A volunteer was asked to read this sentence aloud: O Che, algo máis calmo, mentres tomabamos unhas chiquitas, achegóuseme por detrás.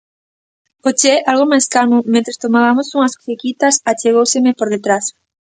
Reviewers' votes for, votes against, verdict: 1, 2, rejected